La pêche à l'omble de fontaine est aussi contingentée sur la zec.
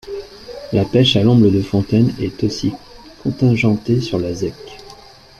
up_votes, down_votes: 2, 0